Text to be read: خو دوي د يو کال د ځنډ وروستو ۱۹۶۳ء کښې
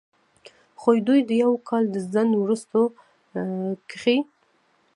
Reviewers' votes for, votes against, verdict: 0, 2, rejected